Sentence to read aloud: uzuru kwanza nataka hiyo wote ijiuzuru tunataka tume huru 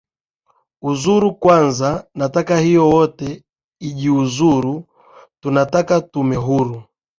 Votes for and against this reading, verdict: 2, 0, accepted